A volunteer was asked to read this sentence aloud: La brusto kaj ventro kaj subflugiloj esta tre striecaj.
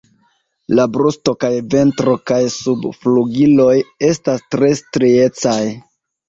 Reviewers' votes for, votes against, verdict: 1, 2, rejected